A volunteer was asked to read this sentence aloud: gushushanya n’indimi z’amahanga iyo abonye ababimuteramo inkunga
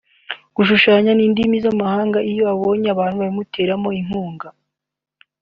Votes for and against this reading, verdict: 2, 0, accepted